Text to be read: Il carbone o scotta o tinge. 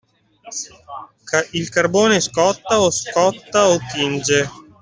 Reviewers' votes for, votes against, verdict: 0, 2, rejected